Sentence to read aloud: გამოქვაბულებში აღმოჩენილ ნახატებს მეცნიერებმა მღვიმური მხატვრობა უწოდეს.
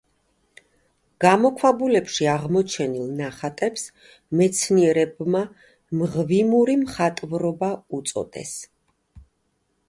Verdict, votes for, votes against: accepted, 2, 0